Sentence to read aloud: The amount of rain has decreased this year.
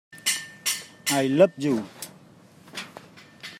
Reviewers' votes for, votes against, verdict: 0, 2, rejected